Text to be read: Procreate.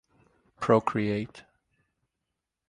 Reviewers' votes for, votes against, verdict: 2, 0, accepted